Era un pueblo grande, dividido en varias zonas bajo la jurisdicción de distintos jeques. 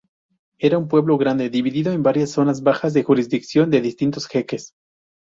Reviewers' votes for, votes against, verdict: 0, 4, rejected